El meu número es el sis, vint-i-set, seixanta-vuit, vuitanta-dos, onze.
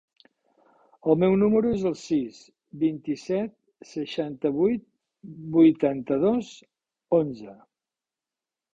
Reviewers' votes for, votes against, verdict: 4, 0, accepted